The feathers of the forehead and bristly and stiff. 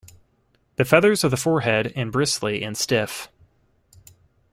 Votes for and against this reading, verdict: 2, 0, accepted